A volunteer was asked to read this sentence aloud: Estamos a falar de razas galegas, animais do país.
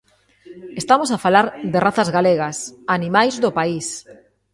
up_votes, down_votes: 2, 0